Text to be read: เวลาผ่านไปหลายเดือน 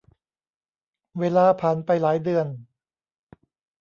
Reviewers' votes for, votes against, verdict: 2, 0, accepted